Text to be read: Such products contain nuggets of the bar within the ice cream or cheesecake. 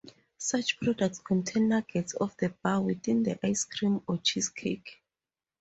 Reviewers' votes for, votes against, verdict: 4, 0, accepted